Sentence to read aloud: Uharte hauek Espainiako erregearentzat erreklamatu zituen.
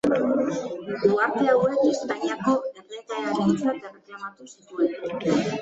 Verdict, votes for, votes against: rejected, 1, 3